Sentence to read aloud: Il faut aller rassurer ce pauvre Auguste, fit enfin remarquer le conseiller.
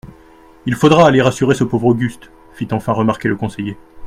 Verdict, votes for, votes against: rejected, 1, 2